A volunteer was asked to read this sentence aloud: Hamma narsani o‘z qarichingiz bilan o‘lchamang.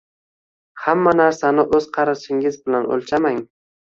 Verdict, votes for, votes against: accepted, 2, 1